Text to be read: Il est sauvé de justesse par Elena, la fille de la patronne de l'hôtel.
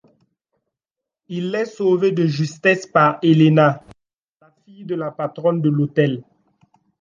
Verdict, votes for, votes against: accepted, 2, 0